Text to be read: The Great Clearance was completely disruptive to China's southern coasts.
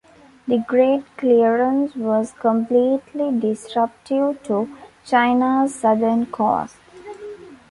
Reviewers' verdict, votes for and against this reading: accepted, 2, 0